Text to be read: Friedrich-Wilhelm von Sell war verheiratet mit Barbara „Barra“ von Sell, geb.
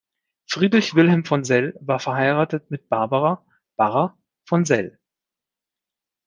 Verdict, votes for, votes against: rejected, 1, 2